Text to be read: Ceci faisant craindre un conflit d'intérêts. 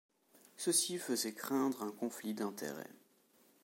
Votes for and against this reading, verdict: 1, 2, rejected